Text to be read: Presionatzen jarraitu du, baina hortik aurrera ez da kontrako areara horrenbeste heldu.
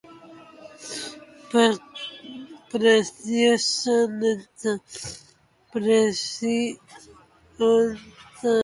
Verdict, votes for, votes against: rejected, 0, 2